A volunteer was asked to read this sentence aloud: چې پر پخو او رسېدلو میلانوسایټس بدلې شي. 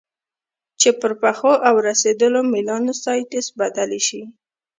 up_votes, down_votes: 1, 2